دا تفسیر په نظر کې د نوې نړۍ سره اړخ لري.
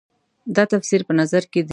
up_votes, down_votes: 0, 2